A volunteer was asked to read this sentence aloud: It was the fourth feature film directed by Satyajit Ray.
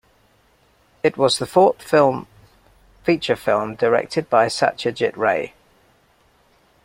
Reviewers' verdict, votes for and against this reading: rejected, 0, 2